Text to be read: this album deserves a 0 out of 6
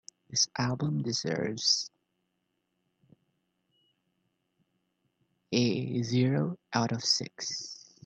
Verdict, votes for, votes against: rejected, 0, 2